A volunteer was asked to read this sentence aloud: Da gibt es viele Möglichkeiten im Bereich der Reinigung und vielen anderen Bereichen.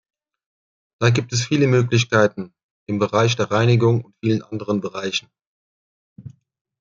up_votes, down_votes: 2, 1